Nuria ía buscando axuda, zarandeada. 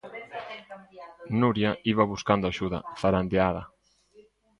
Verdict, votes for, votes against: rejected, 0, 2